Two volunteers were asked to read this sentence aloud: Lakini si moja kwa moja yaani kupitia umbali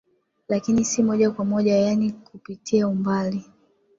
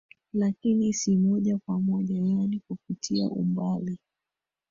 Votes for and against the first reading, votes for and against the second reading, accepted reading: 2, 0, 1, 2, first